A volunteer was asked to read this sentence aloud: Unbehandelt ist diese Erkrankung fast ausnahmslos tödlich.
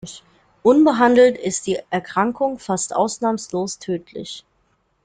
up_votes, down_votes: 0, 2